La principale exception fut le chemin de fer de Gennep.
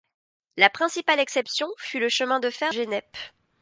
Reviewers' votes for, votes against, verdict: 1, 2, rejected